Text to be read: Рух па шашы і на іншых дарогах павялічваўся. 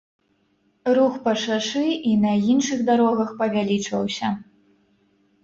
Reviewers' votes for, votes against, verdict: 2, 0, accepted